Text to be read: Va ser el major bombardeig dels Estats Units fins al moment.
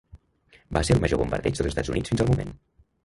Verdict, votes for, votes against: rejected, 0, 2